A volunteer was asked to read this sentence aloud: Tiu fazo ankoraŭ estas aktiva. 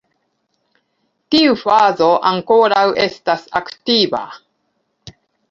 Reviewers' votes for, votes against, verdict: 2, 1, accepted